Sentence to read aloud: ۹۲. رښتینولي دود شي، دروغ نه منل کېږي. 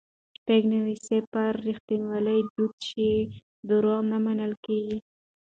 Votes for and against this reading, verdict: 0, 2, rejected